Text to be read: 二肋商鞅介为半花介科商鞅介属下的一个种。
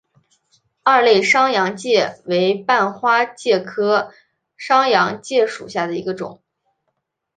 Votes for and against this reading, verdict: 5, 1, accepted